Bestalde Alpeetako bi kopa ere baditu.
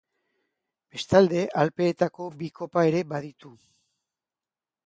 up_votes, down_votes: 2, 0